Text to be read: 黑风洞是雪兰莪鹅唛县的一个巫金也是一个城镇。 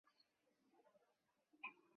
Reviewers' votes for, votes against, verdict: 0, 3, rejected